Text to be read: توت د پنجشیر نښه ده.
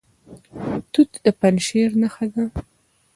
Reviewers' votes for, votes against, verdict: 0, 2, rejected